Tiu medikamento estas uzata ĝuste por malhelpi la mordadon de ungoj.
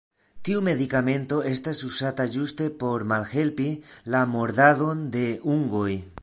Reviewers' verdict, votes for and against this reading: accepted, 2, 1